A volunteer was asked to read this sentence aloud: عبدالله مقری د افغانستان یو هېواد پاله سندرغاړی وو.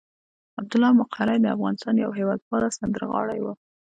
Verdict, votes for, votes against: accepted, 2, 0